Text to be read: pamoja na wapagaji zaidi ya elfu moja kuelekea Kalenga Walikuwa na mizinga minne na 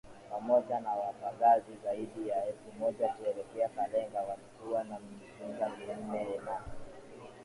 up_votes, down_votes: 3, 2